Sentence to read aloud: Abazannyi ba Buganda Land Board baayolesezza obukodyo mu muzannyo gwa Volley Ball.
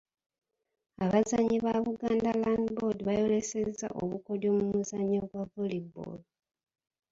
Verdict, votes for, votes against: rejected, 1, 2